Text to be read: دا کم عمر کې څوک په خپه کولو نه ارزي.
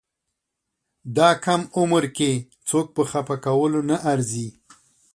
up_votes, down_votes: 2, 0